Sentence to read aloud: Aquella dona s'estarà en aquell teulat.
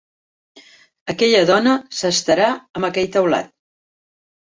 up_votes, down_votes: 3, 0